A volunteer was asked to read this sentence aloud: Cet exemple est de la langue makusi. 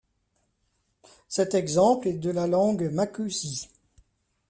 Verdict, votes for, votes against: rejected, 1, 2